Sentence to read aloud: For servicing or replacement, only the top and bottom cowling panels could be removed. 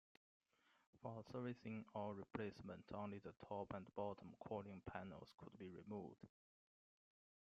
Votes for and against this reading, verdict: 0, 2, rejected